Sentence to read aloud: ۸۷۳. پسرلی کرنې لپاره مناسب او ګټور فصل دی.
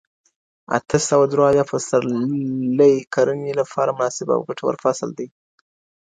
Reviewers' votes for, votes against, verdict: 0, 2, rejected